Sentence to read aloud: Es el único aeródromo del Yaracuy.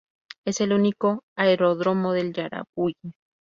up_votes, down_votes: 2, 0